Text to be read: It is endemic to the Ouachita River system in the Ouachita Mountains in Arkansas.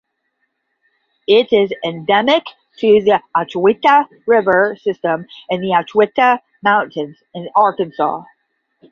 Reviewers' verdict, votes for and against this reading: rejected, 5, 5